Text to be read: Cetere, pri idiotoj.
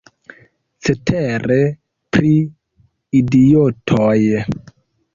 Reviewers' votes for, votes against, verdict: 1, 2, rejected